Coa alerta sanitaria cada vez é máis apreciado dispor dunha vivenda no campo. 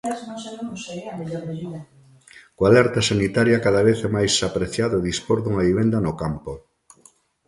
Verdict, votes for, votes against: rejected, 1, 2